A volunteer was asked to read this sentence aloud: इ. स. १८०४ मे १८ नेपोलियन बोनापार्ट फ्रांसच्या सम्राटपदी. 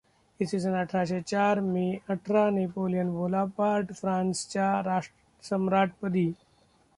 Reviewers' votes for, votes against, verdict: 0, 2, rejected